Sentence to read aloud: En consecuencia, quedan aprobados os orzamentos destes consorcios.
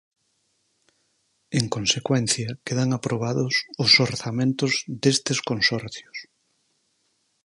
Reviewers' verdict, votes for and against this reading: accepted, 4, 0